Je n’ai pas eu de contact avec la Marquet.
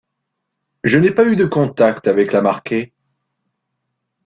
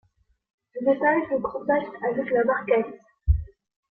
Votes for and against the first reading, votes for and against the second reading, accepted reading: 2, 1, 1, 2, first